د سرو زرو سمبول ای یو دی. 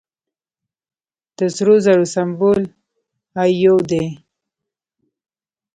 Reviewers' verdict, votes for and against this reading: rejected, 1, 2